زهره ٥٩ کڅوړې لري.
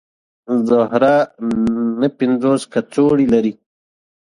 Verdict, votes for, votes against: rejected, 0, 2